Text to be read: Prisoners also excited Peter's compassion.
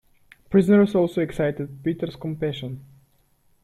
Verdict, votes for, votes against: accepted, 3, 0